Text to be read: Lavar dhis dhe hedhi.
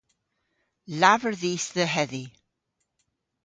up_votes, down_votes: 2, 0